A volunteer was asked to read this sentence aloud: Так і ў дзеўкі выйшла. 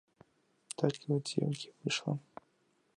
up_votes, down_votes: 0, 2